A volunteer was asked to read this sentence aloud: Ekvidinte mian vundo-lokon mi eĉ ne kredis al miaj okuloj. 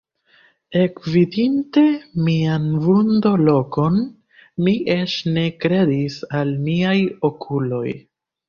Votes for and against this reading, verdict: 1, 2, rejected